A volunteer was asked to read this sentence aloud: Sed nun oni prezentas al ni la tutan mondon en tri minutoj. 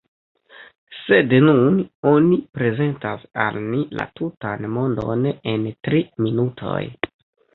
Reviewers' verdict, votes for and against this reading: rejected, 1, 2